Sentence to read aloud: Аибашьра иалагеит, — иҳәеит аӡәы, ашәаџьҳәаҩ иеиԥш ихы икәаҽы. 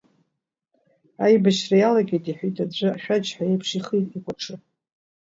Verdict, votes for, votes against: rejected, 1, 2